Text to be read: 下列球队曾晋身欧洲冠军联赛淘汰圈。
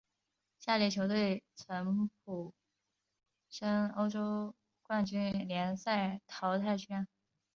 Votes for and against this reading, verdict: 1, 2, rejected